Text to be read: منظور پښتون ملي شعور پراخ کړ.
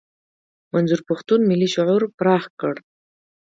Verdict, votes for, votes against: accepted, 2, 0